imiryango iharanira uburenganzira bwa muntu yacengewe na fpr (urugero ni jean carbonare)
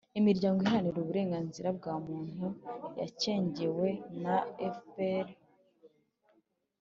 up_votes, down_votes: 1, 2